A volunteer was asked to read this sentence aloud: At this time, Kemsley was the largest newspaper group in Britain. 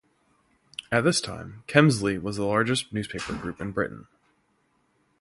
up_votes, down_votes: 2, 0